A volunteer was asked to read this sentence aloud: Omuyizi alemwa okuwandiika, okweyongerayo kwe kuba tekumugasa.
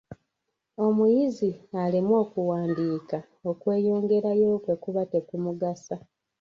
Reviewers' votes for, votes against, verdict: 1, 2, rejected